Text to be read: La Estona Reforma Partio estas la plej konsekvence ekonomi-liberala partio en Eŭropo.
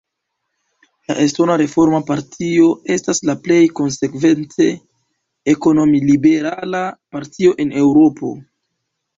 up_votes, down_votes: 1, 2